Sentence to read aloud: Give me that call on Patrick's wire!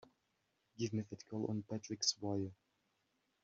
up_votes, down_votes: 1, 2